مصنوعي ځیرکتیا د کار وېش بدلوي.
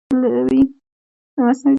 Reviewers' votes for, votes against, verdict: 0, 2, rejected